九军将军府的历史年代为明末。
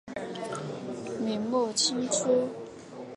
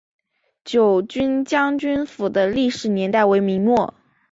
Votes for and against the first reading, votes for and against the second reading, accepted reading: 2, 3, 2, 0, second